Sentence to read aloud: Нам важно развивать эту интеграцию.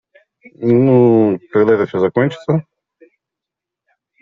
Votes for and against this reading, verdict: 0, 2, rejected